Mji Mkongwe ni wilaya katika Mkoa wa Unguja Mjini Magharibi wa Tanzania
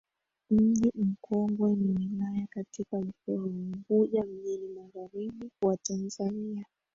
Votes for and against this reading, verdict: 1, 2, rejected